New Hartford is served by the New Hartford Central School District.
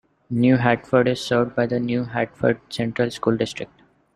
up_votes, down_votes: 2, 0